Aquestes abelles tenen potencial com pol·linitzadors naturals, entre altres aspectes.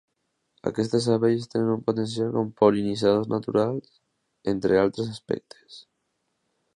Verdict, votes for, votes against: rejected, 1, 2